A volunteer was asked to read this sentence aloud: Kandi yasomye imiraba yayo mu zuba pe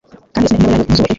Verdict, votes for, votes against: rejected, 1, 2